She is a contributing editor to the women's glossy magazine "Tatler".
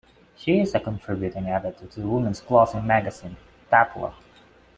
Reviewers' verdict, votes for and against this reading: accepted, 2, 0